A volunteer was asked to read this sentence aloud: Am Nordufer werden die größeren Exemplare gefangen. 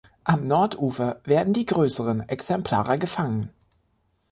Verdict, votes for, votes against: accepted, 2, 0